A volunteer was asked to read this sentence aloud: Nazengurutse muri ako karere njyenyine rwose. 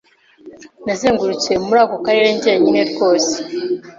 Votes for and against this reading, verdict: 2, 0, accepted